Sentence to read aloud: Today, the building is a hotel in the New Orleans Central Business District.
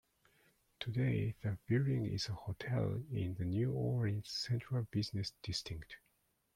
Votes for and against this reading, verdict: 1, 2, rejected